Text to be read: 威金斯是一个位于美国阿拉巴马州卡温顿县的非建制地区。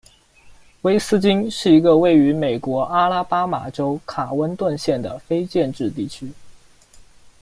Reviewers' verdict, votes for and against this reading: rejected, 0, 2